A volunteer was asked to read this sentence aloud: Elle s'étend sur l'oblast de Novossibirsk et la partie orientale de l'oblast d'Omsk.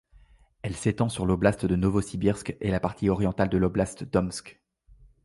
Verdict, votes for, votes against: accepted, 2, 0